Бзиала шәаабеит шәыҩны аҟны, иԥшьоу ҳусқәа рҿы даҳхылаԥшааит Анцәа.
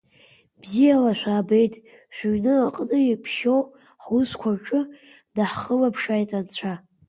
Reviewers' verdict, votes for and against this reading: accepted, 2, 1